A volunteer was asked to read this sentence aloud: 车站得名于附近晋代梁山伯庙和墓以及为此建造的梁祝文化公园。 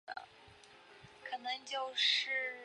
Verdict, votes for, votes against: rejected, 0, 2